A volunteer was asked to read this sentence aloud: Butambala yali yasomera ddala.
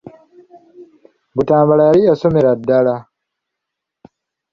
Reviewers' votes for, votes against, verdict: 2, 0, accepted